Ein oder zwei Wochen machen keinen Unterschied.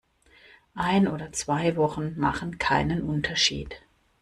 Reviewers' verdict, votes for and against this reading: accepted, 2, 0